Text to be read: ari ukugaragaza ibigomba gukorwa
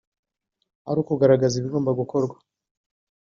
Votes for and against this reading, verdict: 2, 0, accepted